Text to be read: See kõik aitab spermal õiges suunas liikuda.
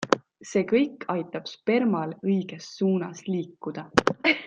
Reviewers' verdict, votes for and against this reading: accepted, 2, 0